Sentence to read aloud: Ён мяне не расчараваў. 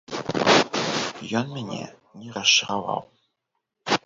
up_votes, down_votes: 1, 3